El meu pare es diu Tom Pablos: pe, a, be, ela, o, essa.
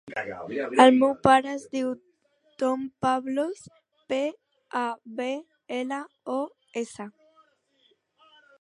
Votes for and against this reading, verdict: 1, 2, rejected